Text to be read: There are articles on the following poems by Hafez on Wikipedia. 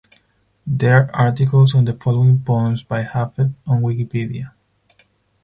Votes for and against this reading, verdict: 0, 4, rejected